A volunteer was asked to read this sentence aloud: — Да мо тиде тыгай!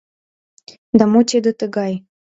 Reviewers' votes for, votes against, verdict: 2, 0, accepted